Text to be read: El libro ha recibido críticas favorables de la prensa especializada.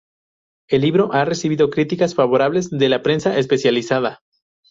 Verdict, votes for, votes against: accepted, 2, 0